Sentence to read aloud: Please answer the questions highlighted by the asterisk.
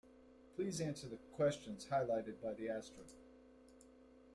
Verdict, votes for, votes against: rejected, 0, 2